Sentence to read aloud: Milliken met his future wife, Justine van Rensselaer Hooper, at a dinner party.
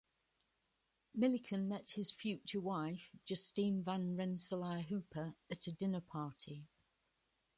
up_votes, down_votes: 2, 0